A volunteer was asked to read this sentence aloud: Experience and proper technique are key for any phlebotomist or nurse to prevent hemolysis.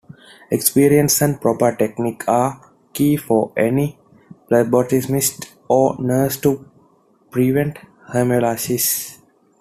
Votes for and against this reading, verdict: 2, 0, accepted